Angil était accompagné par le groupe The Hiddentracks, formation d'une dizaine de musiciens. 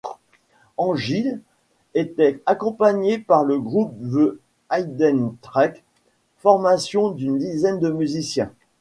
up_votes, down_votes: 2, 0